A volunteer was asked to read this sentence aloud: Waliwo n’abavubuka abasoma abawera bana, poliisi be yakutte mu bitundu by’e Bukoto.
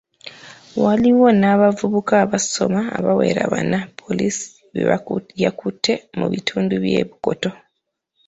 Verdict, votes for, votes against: accepted, 2, 1